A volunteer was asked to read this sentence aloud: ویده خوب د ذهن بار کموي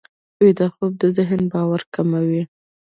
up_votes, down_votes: 1, 2